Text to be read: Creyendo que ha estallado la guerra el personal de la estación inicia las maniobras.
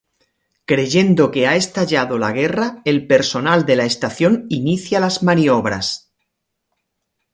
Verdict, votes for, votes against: rejected, 0, 2